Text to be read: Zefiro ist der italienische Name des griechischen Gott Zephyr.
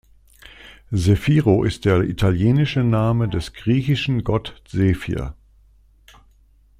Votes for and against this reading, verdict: 2, 0, accepted